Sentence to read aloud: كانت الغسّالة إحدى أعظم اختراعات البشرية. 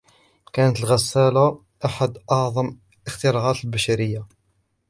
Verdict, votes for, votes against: rejected, 0, 2